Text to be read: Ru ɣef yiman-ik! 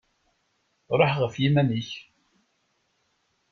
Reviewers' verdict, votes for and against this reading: rejected, 0, 2